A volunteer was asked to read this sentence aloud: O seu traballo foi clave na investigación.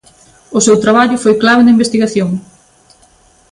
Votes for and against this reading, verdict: 2, 0, accepted